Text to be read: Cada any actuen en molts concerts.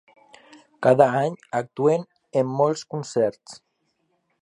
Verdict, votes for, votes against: accepted, 2, 0